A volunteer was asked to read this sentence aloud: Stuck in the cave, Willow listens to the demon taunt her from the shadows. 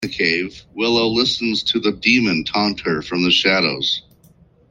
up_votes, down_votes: 0, 2